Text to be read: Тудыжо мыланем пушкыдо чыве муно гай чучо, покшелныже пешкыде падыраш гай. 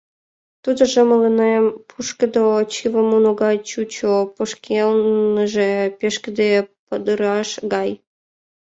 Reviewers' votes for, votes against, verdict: 0, 2, rejected